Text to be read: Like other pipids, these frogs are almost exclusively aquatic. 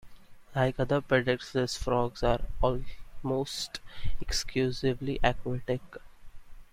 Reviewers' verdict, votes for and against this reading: rejected, 1, 2